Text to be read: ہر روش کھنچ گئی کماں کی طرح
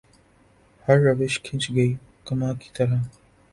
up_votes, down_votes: 2, 0